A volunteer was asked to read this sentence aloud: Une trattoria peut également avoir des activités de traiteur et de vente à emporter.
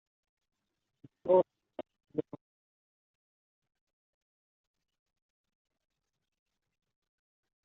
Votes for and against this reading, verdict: 1, 2, rejected